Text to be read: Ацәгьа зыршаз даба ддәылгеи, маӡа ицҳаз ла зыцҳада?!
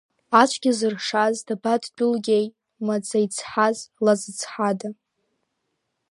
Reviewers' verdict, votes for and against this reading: rejected, 1, 2